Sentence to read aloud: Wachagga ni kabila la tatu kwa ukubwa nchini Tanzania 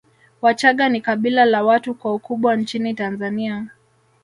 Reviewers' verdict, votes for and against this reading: rejected, 1, 2